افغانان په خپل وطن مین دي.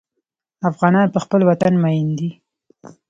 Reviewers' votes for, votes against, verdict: 2, 0, accepted